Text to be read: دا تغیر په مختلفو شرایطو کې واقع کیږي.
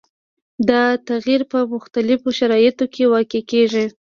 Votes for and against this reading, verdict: 2, 0, accepted